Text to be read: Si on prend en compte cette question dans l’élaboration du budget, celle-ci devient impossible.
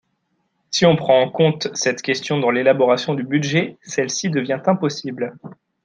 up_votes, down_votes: 1, 2